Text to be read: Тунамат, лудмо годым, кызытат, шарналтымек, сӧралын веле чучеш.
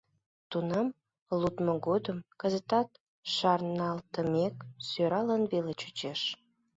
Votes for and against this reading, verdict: 0, 2, rejected